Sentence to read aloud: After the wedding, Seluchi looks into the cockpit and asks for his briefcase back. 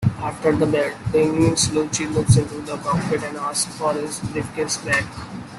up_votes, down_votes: 1, 2